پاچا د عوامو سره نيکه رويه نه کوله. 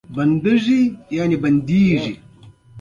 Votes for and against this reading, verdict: 1, 2, rejected